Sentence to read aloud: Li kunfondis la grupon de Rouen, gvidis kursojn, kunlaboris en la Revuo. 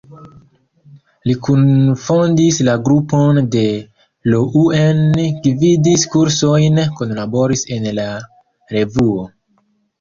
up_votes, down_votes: 2, 0